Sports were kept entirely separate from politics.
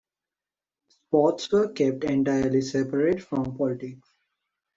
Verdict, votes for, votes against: accepted, 2, 1